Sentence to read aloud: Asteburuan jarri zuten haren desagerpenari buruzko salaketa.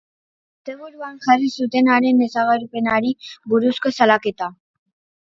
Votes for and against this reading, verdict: 0, 2, rejected